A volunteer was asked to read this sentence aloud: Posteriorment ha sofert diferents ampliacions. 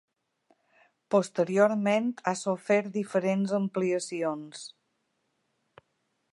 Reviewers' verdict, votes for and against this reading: accepted, 2, 0